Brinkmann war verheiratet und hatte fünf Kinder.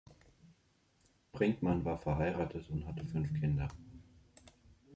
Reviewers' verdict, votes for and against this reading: accepted, 2, 0